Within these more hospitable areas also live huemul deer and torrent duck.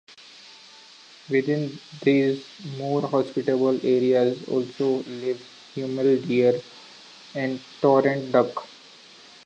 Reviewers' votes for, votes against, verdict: 2, 0, accepted